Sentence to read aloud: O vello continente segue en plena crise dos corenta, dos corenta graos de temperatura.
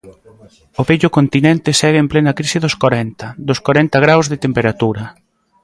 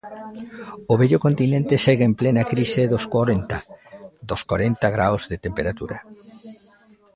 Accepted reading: second